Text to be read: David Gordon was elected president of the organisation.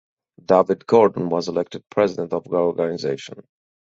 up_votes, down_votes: 4, 0